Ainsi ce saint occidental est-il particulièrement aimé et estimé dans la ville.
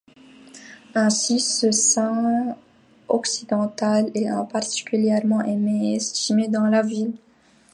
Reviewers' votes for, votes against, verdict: 0, 2, rejected